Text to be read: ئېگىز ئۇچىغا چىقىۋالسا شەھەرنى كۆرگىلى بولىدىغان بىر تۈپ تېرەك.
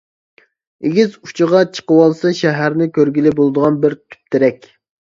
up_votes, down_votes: 2, 0